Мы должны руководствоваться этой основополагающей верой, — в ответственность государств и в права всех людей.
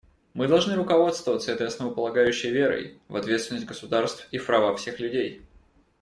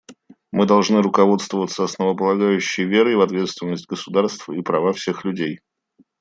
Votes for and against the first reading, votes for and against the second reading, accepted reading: 2, 0, 1, 2, first